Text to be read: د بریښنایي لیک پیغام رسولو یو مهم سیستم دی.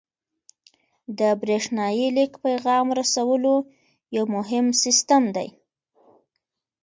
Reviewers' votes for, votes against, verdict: 1, 2, rejected